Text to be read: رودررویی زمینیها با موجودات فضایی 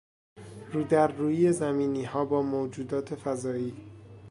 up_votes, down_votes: 2, 0